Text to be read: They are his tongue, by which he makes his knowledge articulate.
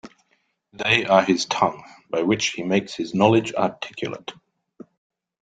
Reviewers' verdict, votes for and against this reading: accepted, 2, 0